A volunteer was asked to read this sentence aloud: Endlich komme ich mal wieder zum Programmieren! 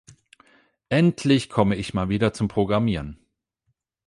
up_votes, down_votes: 8, 0